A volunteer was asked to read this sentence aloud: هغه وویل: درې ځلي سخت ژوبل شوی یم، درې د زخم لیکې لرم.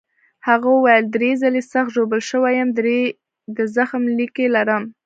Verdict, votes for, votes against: accepted, 2, 0